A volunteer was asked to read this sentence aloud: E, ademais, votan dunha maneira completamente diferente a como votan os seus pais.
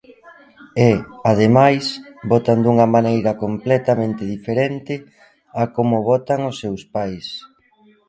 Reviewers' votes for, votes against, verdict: 0, 2, rejected